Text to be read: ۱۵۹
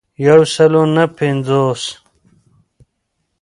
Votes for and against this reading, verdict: 0, 2, rejected